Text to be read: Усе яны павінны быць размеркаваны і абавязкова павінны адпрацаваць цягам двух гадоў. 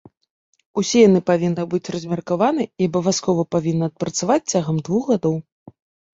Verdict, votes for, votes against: accepted, 2, 0